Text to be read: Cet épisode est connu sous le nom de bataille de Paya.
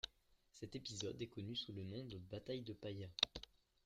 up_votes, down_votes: 3, 0